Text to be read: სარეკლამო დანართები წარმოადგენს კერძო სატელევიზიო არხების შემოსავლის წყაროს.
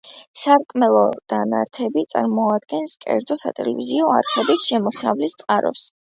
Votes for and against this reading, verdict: 0, 2, rejected